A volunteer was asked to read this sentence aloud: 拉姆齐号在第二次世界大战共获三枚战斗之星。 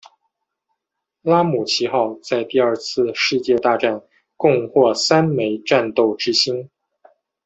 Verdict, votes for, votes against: accepted, 2, 0